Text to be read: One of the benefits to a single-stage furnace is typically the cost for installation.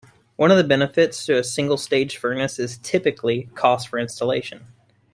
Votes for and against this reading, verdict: 1, 2, rejected